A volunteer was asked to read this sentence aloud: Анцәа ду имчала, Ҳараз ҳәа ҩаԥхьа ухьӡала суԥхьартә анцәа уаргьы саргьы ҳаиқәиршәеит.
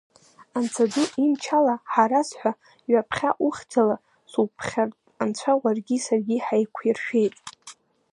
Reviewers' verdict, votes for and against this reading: accepted, 2, 0